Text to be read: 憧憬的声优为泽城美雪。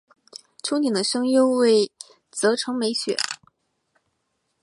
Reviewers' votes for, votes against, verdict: 4, 0, accepted